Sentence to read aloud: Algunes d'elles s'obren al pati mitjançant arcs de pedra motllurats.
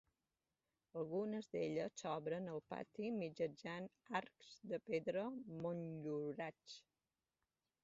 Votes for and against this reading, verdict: 2, 0, accepted